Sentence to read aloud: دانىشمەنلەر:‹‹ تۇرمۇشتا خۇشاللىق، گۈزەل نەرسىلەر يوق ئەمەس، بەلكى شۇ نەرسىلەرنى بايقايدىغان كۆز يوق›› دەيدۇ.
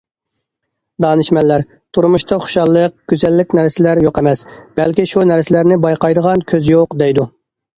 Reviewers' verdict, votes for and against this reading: rejected, 0, 2